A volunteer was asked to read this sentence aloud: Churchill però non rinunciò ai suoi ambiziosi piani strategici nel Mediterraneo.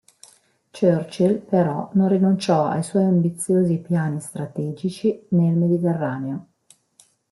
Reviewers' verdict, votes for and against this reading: rejected, 1, 2